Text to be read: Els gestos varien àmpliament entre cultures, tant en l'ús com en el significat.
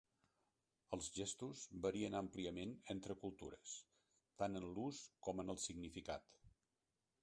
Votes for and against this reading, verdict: 2, 1, accepted